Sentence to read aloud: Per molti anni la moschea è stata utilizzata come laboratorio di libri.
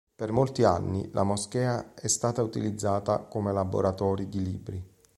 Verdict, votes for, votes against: rejected, 0, 2